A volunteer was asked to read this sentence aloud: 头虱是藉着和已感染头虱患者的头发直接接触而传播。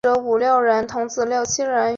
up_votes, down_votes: 0, 2